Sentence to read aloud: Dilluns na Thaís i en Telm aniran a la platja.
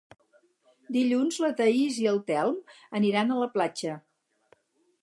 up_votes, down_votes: 0, 4